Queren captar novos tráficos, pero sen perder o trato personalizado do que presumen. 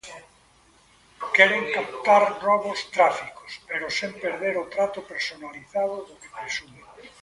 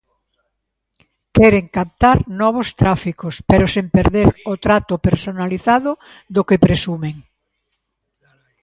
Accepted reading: second